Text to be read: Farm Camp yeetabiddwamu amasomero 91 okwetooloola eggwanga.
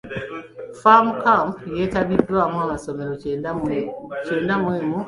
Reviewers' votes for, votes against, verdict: 0, 2, rejected